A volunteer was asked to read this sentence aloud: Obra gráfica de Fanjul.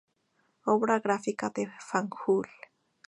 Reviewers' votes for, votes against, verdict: 2, 0, accepted